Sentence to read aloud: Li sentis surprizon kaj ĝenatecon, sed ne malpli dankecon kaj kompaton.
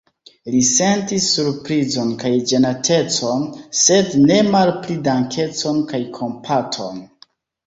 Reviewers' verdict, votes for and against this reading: accepted, 2, 1